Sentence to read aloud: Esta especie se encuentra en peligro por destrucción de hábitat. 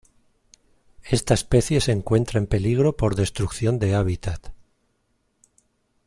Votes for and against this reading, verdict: 2, 0, accepted